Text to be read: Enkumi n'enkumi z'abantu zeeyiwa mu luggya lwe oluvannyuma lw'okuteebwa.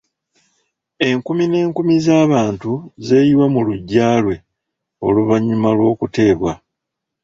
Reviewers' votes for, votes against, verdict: 2, 0, accepted